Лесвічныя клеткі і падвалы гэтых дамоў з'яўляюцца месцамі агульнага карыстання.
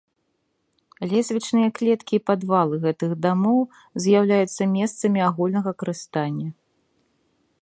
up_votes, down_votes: 2, 1